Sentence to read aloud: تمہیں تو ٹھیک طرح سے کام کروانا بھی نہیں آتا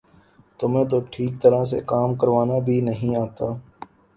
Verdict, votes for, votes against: accepted, 2, 0